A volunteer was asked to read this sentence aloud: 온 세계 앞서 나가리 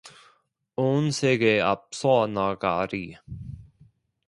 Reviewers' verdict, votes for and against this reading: accepted, 2, 0